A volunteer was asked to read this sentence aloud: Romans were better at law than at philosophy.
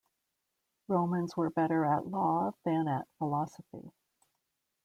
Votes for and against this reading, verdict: 2, 0, accepted